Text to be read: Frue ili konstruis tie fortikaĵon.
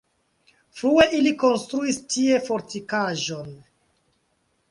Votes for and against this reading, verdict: 2, 1, accepted